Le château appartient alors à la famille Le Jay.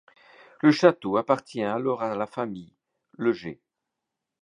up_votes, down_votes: 2, 0